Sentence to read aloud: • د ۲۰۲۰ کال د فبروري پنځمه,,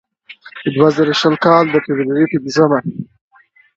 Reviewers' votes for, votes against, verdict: 0, 2, rejected